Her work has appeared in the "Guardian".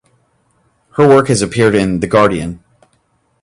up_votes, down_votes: 2, 0